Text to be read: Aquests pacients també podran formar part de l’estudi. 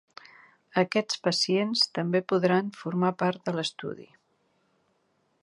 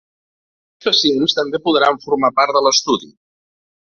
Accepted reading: first